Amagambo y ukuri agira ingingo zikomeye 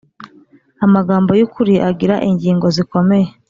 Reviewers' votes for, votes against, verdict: 2, 0, accepted